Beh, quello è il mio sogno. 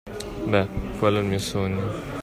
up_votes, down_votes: 1, 2